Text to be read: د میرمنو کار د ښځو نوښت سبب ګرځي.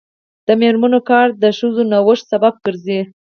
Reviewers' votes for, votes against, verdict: 2, 4, rejected